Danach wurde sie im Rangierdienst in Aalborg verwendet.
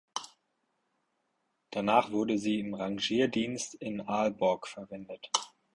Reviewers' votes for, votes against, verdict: 4, 0, accepted